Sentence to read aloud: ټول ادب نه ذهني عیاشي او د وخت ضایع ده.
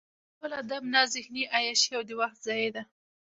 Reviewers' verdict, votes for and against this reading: rejected, 1, 2